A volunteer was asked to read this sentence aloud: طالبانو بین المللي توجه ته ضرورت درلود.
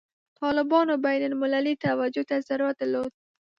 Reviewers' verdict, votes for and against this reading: accepted, 2, 0